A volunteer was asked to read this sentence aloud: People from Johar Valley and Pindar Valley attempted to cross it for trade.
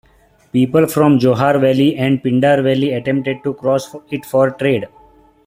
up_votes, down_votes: 2, 1